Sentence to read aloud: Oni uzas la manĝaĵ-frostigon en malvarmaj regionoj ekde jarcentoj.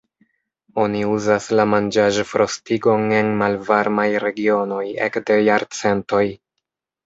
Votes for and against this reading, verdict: 1, 2, rejected